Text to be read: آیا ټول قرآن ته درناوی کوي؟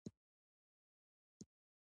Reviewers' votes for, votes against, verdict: 2, 0, accepted